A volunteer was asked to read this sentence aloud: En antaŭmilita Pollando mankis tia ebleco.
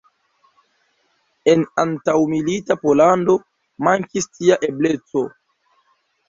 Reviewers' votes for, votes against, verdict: 1, 2, rejected